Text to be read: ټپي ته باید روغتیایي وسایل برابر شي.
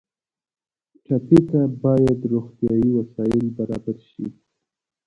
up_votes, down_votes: 2, 1